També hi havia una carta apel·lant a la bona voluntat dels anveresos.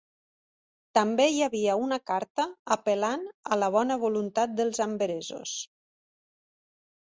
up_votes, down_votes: 2, 0